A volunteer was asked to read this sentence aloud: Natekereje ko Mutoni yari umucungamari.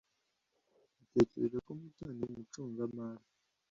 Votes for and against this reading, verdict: 2, 1, accepted